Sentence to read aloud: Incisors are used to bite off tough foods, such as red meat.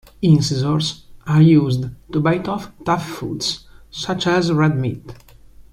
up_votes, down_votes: 1, 2